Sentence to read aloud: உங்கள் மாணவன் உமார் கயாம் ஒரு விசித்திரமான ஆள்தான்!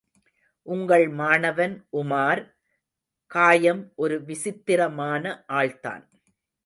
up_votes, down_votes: 0, 2